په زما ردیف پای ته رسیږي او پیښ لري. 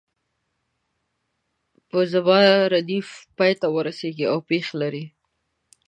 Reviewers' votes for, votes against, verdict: 1, 2, rejected